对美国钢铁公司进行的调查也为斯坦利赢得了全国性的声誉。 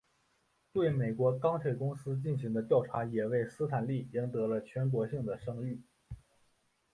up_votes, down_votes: 5, 0